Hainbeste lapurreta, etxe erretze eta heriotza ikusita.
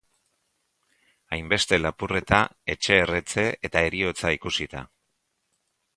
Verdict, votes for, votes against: accepted, 3, 0